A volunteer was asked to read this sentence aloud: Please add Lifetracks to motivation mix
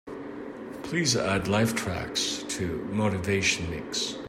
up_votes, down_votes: 2, 0